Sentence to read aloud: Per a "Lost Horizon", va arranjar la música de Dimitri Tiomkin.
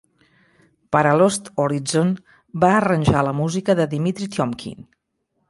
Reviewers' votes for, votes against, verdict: 1, 2, rejected